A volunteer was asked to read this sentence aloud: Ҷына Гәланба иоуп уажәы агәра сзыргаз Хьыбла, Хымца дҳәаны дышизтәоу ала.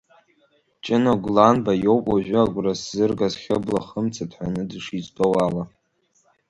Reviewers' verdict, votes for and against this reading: accepted, 2, 1